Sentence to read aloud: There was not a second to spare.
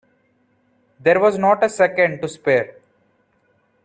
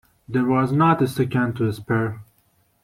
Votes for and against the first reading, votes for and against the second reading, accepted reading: 2, 0, 1, 2, first